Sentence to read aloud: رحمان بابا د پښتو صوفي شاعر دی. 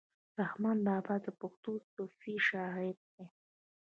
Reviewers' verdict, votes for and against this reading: rejected, 0, 2